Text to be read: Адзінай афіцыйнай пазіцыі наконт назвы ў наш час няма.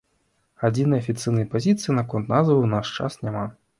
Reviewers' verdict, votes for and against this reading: accepted, 2, 0